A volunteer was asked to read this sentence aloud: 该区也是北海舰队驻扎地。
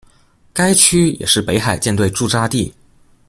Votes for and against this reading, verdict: 2, 1, accepted